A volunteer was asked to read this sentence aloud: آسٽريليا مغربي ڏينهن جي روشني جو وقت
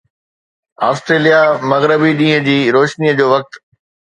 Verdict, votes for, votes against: accepted, 2, 0